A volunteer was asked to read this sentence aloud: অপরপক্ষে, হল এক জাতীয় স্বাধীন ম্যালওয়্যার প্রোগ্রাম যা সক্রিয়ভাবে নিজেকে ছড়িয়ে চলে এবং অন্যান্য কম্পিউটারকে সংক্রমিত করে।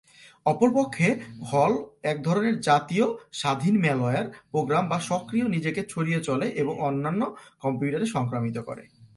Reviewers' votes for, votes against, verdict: 0, 2, rejected